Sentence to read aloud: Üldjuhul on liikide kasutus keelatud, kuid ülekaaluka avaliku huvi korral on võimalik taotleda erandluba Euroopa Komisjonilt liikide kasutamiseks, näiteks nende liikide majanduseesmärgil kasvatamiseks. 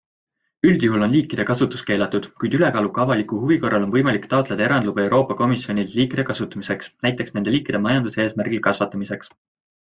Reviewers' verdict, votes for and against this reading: accepted, 2, 0